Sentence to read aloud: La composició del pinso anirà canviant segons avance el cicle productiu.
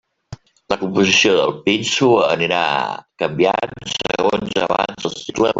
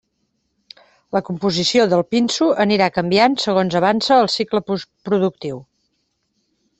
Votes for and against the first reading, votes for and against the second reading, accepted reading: 0, 2, 2, 1, second